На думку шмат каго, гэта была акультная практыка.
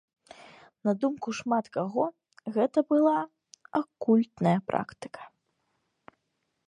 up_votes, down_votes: 2, 0